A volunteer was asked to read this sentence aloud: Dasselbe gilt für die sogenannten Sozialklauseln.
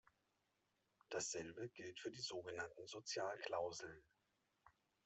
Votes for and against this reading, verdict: 0, 2, rejected